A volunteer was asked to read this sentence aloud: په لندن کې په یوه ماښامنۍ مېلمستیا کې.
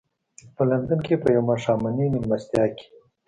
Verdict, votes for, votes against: accepted, 2, 0